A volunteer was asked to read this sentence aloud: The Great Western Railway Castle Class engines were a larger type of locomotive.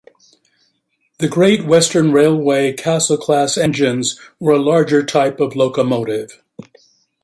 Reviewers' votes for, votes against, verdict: 2, 0, accepted